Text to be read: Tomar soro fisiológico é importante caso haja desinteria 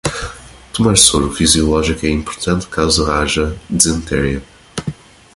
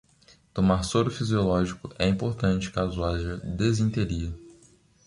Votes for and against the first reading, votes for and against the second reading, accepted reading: 1, 2, 2, 0, second